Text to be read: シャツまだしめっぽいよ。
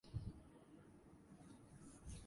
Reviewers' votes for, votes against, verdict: 1, 2, rejected